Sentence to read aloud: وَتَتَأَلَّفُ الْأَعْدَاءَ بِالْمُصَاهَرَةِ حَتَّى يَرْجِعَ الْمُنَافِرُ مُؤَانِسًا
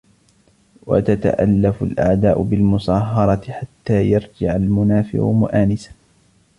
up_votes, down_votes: 2, 1